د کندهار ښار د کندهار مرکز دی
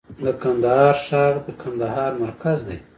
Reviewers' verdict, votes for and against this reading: accepted, 2, 1